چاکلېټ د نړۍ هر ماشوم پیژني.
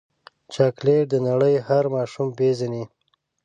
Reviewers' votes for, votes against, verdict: 2, 0, accepted